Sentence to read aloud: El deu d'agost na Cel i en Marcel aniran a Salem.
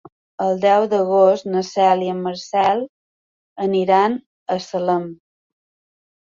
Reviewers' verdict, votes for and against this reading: accepted, 3, 0